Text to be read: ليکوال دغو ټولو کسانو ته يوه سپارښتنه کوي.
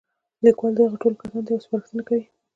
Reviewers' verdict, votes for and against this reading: accepted, 2, 1